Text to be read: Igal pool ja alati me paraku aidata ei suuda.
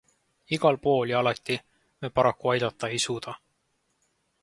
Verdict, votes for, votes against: accepted, 2, 0